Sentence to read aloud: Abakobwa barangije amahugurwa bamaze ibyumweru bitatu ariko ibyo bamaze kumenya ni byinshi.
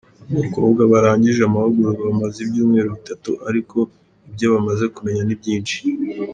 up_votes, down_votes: 2, 0